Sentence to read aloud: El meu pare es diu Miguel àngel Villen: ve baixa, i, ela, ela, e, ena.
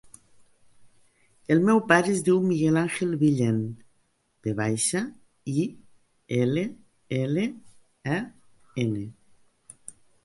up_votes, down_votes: 1, 2